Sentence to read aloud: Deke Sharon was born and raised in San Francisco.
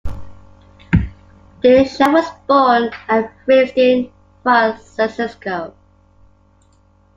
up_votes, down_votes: 0, 2